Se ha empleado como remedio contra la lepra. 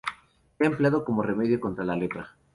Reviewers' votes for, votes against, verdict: 2, 0, accepted